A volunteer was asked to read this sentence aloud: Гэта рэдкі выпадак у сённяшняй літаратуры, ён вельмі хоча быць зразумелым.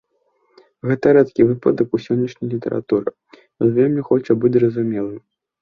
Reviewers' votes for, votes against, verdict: 2, 0, accepted